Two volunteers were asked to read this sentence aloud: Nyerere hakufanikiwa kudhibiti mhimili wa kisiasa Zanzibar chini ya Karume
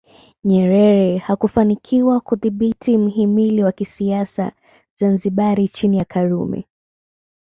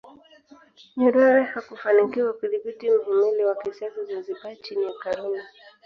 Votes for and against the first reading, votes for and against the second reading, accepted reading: 2, 0, 1, 2, first